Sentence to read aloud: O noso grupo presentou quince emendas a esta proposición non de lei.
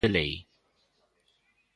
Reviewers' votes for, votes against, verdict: 0, 2, rejected